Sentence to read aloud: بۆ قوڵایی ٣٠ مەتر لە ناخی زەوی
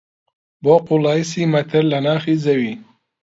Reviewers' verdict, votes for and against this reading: rejected, 0, 2